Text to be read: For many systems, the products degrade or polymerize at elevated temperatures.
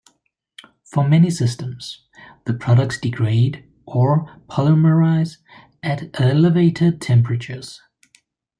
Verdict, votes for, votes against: accepted, 2, 1